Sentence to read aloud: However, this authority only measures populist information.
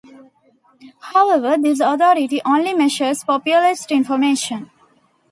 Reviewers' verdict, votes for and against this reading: accepted, 2, 0